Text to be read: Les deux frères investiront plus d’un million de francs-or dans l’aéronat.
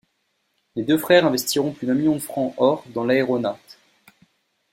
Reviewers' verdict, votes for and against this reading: accepted, 2, 1